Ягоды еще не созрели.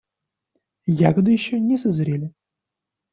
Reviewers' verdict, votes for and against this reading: accepted, 2, 0